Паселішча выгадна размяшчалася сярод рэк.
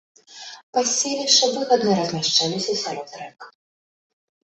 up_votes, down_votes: 2, 0